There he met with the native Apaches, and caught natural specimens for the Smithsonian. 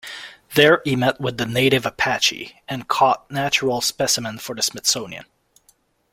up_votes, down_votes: 0, 2